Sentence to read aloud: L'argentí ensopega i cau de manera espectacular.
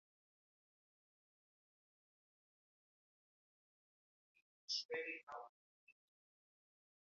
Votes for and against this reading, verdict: 1, 2, rejected